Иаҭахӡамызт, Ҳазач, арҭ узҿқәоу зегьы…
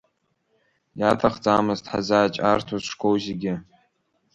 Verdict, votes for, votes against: rejected, 1, 2